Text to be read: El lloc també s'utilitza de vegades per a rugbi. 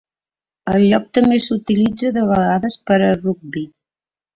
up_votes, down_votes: 0, 2